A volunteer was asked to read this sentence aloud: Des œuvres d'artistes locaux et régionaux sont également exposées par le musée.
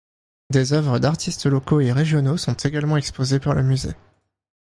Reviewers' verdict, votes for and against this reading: accepted, 2, 0